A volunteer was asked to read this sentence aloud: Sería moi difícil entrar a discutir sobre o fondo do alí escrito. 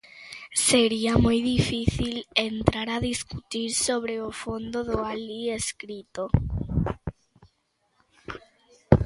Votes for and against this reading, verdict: 2, 0, accepted